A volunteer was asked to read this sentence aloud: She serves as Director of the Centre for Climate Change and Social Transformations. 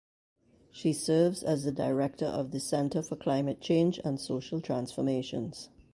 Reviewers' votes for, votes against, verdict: 0, 2, rejected